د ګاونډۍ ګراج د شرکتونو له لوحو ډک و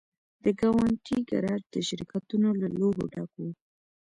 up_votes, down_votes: 0, 2